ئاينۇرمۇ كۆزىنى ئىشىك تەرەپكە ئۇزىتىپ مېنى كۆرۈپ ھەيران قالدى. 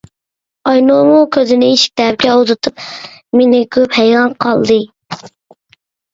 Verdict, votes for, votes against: rejected, 0, 2